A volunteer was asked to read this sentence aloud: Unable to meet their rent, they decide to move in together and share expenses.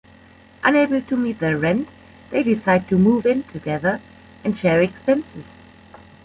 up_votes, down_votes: 2, 0